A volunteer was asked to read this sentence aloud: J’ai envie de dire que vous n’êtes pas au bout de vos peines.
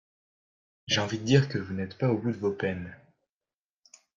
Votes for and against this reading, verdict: 1, 3, rejected